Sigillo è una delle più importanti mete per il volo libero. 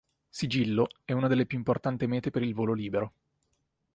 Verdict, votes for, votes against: rejected, 1, 2